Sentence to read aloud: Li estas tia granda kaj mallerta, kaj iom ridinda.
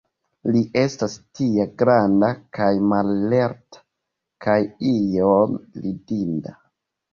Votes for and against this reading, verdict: 0, 2, rejected